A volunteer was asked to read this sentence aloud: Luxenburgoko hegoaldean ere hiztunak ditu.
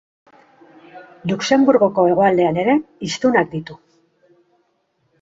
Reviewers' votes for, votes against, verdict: 3, 0, accepted